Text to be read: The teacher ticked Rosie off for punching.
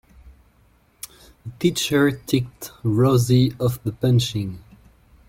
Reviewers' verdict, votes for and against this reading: rejected, 1, 2